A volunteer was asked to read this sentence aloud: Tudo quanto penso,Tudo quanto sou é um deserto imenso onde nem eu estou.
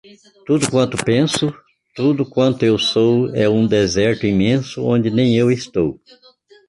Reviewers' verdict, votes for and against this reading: rejected, 1, 2